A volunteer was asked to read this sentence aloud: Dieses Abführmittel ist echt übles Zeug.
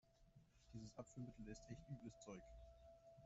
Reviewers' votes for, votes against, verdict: 0, 2, rejected